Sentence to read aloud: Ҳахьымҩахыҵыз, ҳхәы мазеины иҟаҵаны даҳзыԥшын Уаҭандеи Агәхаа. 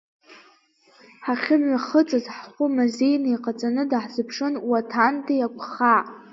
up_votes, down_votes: 3, 2